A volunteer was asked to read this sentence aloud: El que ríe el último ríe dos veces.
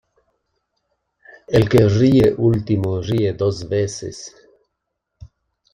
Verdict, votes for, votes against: rejected, 1, 2